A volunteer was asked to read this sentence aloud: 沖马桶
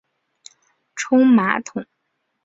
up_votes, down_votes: 2, 1